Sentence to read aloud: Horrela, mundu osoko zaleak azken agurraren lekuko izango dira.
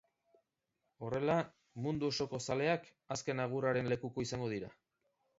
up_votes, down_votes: 2, 0